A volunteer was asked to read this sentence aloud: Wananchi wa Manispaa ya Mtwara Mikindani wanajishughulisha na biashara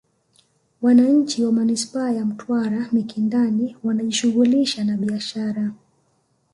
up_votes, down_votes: 2, 0